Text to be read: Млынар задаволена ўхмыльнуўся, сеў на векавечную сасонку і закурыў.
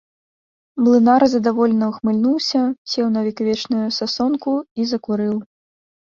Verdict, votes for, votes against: accepted, 2, 0